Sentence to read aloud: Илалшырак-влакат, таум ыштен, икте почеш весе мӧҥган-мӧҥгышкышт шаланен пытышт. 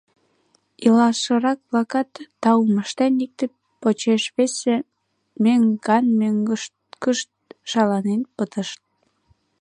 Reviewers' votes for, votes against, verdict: 0, 2, rejected